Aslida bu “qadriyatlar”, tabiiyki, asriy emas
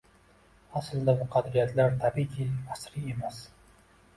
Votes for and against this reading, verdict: 3, 0, accepted